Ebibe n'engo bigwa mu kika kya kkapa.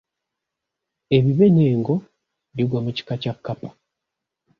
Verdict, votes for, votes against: accepted, 2, 0